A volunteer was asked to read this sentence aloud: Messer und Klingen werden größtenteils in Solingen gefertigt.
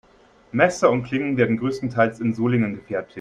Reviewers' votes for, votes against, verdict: 2, 3, rejected